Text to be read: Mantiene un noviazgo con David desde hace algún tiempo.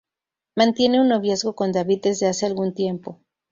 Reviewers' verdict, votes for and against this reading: accepted, 2, 0